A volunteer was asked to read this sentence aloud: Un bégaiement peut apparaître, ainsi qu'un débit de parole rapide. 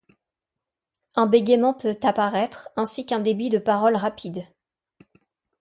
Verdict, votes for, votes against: accepted, 2, 0